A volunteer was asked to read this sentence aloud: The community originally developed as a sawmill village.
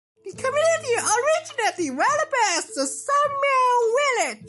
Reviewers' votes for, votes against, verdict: 0, 2, rejected